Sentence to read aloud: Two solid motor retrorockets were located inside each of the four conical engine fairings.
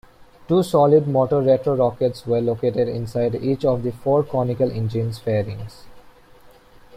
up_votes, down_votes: 2, 0